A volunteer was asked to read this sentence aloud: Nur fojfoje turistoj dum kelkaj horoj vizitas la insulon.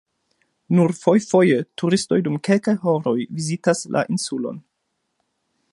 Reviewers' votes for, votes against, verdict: 1, 2, rejected